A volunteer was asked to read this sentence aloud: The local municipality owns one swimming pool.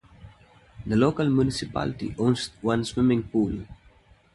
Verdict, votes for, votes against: accepted, 2, 0